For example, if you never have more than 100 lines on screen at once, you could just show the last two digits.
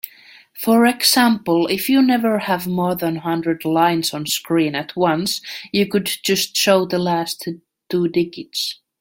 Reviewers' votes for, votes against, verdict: 0, 2, rejected